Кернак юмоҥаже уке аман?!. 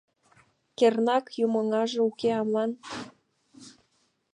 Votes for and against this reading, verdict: 2, 0, accepted